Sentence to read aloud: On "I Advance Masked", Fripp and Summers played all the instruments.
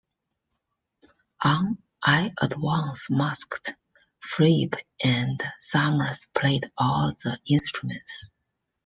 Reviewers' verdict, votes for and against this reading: accepted, 2, 1